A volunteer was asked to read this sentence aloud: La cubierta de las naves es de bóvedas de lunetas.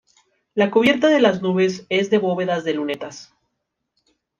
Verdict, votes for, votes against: rejected, 1, 2